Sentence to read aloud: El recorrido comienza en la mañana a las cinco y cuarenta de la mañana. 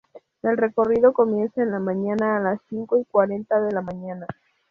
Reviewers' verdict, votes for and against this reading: rejected, 0, 2